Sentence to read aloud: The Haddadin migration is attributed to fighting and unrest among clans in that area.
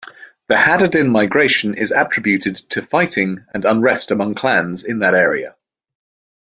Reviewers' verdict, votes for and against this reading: accepted, 2, 0